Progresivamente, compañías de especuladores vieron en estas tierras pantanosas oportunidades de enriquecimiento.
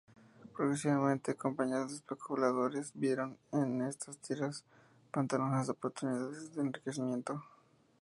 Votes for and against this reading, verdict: 0, 2, rejected